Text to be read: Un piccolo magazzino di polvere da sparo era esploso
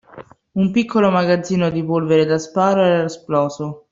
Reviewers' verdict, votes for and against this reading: accepted, 2, 0